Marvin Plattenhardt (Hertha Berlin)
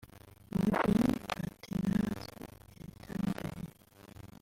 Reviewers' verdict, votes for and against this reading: rejected, 0, 3